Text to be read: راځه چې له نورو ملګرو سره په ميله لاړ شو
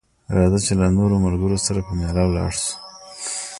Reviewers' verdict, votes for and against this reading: rejected, 1, 2